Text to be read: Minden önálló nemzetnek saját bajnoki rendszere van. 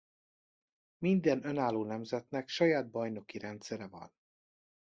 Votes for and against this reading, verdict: 2, 0, accepted